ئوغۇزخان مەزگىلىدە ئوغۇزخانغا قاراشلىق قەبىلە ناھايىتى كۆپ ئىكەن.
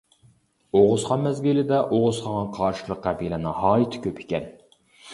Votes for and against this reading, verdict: 1, 2, rejected